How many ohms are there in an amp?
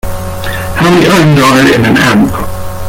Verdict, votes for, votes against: rejected, 1, 2